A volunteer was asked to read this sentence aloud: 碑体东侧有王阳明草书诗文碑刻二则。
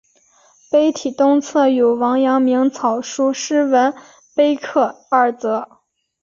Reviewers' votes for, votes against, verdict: 3, 1, accepted